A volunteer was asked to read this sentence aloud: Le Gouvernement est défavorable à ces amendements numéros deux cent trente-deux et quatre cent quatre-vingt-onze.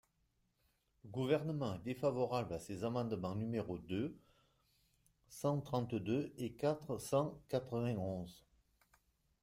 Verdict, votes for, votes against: rejected, 0, 2